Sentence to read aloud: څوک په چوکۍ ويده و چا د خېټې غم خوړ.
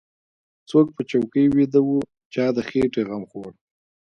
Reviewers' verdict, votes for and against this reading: accepted, 2, 1